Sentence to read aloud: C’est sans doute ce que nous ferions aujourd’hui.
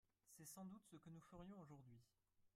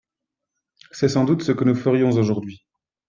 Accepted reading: second